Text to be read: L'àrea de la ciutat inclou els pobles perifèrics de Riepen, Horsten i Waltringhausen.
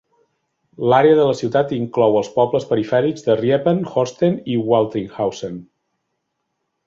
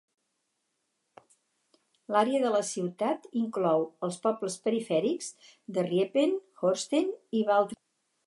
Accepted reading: first